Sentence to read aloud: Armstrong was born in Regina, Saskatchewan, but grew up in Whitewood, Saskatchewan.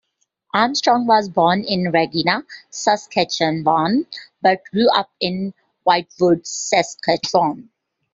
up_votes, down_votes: 2, 1